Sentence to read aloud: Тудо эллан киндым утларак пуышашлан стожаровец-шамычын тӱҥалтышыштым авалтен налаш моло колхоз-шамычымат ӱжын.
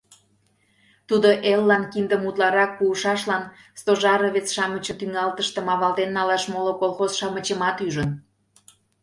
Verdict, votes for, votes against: rejected, 1, 2